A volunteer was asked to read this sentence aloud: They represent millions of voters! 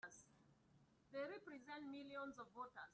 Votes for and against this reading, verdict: 0, 2, rejected